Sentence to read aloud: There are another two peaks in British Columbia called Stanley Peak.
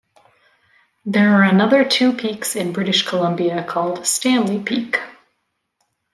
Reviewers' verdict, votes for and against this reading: accepted, 2, 0